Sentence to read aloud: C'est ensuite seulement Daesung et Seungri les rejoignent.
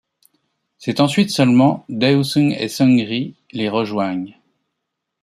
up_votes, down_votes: 2, 0